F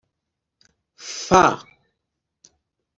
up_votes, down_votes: 1, 2